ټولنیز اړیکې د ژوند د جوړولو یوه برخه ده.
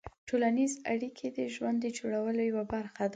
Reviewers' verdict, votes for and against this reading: accepted, 2, 1